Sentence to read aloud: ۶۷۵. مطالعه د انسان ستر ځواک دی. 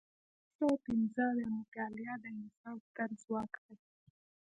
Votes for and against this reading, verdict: 0, 2, rejected